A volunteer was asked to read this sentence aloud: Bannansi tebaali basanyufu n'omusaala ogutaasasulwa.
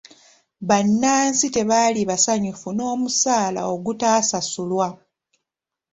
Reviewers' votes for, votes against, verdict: 2, 0, accepted